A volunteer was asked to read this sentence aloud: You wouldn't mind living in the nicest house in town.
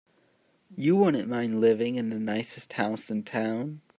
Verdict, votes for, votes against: accepted, 2, 1